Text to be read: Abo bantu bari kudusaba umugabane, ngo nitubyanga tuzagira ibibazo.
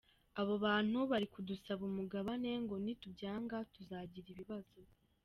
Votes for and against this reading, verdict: 2, 0, accepted